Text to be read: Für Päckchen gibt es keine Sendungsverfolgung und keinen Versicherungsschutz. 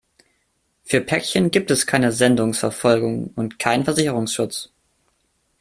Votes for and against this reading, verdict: 2, 0, accepted